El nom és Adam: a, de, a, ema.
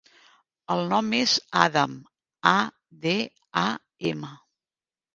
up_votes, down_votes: 2, 0